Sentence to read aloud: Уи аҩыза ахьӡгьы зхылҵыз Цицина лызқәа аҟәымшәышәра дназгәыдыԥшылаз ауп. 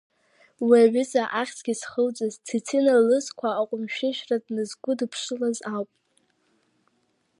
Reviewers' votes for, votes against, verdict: 2, 0, accepted